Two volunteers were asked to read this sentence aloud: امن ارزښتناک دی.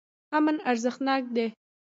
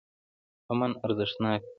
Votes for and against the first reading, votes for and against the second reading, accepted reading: 2, 0, 1, 2, first